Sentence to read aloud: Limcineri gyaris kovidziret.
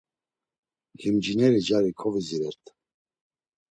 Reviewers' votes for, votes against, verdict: 2, 0, accepted